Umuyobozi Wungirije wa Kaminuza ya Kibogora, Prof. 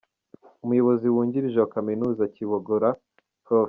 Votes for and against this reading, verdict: 2, 0, accepted